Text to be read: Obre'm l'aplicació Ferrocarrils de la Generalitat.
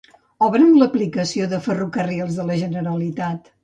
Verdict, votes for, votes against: rejected, 0, 2